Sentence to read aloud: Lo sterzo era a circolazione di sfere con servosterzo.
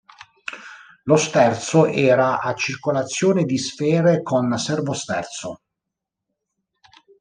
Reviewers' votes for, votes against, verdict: 2, 0, accepted